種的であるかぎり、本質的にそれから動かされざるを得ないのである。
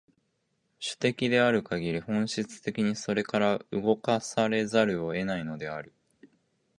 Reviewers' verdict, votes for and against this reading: accepted, 3, 0